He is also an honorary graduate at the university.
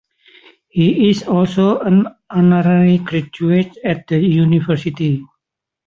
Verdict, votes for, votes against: accepted, 2, 1